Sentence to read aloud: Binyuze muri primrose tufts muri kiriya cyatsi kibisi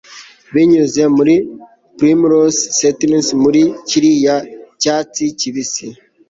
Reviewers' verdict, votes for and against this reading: accepted, 2, 1